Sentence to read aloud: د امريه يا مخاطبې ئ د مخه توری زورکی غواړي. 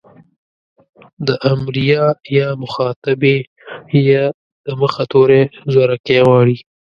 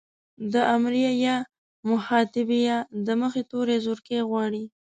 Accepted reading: first